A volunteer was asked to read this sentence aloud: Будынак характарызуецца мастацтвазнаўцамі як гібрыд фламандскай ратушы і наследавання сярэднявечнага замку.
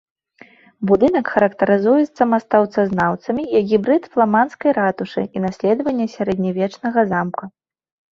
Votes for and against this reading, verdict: 0, 2, rejected